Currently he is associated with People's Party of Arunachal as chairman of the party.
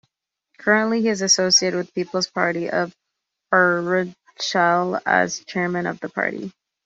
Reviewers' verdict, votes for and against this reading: accepted, 2, 1